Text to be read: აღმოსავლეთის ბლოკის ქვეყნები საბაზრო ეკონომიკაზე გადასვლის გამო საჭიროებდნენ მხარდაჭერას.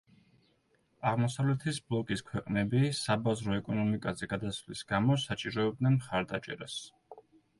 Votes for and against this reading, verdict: 2, 1, accepted